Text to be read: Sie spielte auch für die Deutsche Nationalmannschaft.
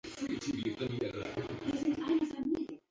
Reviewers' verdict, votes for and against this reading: rejected, 0, 2